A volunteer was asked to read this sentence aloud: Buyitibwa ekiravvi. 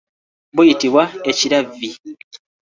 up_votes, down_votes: 2, 0